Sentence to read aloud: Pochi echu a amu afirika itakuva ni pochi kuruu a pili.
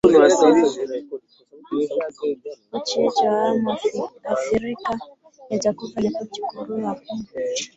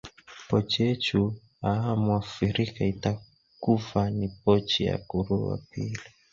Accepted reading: second